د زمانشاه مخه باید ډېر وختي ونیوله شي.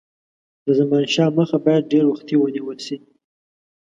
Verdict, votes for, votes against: rejected, 1, 2